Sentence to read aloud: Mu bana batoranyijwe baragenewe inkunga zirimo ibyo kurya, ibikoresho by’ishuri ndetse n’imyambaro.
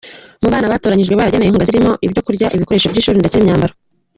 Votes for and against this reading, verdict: 2, 1, accepted